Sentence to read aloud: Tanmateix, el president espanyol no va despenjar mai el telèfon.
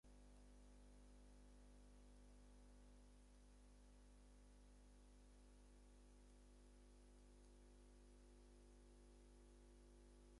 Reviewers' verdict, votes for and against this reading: rejected, 0, 6